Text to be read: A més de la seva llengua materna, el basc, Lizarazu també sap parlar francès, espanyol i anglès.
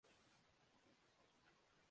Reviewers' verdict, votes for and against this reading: rejected, 0, 2